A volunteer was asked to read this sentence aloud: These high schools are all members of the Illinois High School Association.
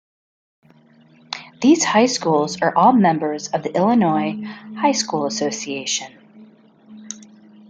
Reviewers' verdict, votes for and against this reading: accepted, 2, 0